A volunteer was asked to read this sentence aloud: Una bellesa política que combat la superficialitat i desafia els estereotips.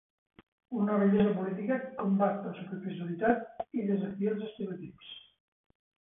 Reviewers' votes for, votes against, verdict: 0, 2, rejected